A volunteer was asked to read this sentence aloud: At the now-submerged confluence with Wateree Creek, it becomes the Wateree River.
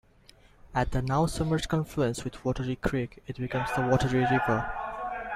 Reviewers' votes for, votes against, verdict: 2, 1, accepted